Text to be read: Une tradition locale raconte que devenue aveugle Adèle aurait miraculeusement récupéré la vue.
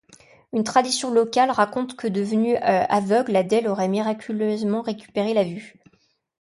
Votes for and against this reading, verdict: 0, 2, rejected